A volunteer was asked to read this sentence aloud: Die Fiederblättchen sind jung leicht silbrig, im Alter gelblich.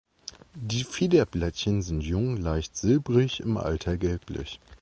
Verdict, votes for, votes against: accepted, 2, 0